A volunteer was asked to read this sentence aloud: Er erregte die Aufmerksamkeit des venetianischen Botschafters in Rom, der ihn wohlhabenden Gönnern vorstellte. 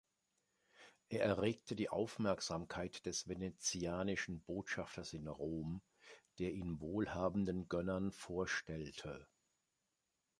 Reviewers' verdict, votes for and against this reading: accepted, 2, 0